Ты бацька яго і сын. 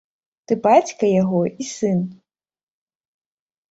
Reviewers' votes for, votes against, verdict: 2, 0, accepted